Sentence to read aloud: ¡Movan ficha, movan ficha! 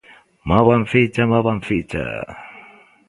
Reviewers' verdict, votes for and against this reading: accepted, 2, 0